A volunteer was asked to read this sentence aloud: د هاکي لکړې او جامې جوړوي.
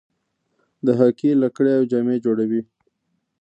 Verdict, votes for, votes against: rejected, 1, 2